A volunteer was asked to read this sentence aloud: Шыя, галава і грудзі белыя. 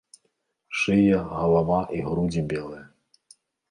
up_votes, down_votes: 2, 0